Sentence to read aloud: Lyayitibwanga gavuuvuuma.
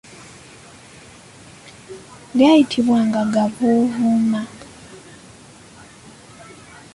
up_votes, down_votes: 3, 1